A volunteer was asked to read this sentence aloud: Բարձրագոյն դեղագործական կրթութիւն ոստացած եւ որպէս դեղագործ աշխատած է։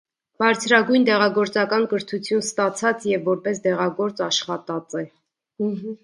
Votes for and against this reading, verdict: 0, 2, rejected